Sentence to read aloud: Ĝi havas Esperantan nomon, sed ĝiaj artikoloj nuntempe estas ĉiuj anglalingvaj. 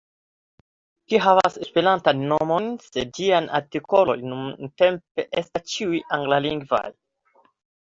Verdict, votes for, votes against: rejected, 1, 2